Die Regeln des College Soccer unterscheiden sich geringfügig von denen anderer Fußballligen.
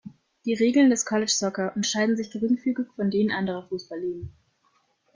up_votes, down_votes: 2, 1